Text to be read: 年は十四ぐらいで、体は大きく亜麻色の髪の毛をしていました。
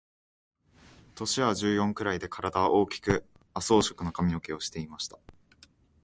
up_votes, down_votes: 2, 0